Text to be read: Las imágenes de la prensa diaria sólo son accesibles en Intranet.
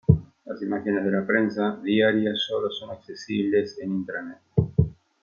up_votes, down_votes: 2, 1